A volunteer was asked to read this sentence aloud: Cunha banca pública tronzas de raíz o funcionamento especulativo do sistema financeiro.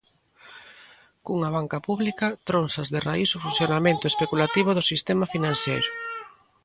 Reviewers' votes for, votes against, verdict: 0, 2, rejected